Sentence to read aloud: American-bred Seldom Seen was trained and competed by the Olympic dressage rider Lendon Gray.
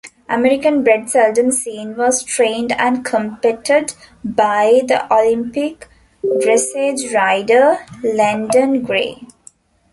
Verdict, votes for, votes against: rejected, 0, 2